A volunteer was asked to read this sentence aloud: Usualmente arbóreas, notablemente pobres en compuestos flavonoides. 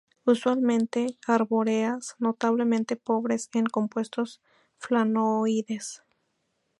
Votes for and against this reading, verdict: 0, 2, rejected